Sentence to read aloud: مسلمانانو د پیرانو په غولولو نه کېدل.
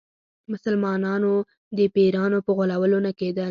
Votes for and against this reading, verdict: 4, 2, accepted